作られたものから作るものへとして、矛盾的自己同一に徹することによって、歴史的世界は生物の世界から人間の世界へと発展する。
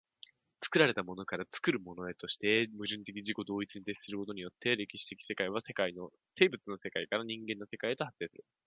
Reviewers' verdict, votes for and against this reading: rejected, 0, 2